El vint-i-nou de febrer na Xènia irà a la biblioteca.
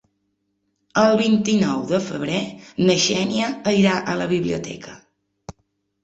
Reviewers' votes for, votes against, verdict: 3, 0, accepted